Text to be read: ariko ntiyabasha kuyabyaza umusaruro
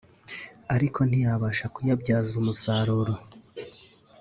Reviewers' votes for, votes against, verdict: 2, 0, accepted